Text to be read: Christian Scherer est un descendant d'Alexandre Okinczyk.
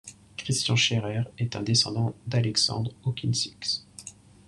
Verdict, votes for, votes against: rejected, 1, 2